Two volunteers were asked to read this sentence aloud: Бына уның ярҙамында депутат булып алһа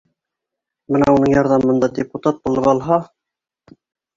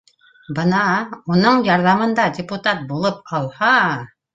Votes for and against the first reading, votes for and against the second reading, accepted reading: 1, 2, 2, 0, second